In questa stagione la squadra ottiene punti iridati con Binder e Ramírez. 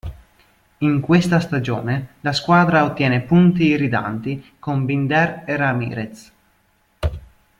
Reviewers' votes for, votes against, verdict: 0, 2, rejected